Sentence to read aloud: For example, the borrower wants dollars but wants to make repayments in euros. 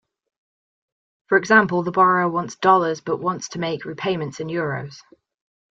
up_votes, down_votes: 2, 0